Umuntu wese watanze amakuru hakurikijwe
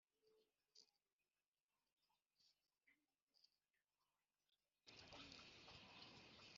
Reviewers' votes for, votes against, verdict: 0, 3, rejected